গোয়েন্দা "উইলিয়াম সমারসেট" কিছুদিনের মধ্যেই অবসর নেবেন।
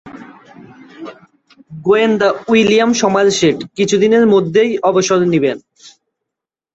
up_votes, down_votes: 1, 2